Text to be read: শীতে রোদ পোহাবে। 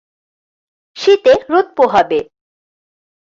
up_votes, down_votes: 2, 0